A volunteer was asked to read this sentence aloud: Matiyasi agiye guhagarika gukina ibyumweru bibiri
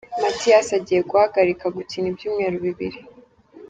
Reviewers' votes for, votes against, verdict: 2, 0, accepted